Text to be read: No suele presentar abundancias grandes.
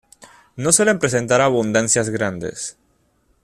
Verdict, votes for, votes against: accepted, 2, 0